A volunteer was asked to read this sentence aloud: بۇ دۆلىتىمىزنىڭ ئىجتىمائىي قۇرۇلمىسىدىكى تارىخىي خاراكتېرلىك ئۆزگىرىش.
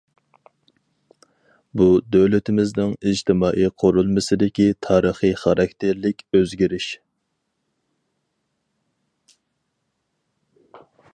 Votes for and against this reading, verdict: 4, 0, accepted